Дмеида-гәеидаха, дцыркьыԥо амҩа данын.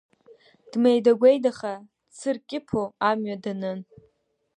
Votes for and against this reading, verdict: 2, 1, accepted